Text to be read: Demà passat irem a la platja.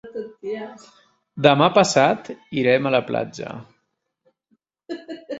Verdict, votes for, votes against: accepted, 3, 0